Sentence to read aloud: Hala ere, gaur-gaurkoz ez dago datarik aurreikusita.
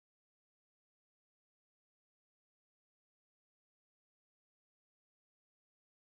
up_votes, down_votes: 0, 2